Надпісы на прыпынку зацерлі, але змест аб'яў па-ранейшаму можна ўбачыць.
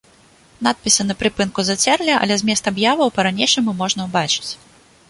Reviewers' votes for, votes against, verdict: 1, 2, rejected